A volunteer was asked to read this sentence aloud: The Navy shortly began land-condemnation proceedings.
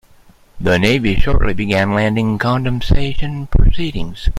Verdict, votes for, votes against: rejected, 1, 2